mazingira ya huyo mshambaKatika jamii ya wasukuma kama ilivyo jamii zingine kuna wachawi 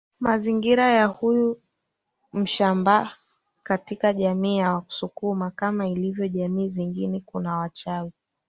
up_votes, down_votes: 1, 2